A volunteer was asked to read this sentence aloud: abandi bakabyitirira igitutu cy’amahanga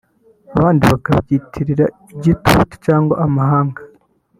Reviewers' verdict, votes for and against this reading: rejected, 1, 2